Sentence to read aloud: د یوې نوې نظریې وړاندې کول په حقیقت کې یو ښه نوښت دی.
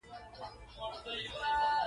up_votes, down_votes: 1, 2